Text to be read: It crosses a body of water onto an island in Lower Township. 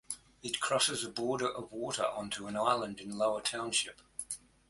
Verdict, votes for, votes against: rejected, 0, 2